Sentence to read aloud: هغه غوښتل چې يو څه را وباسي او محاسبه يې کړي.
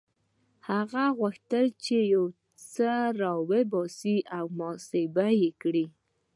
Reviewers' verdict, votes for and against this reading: accepted, 2, 0